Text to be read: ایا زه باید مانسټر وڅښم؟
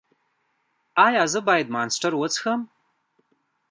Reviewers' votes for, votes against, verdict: 1, 2, rejected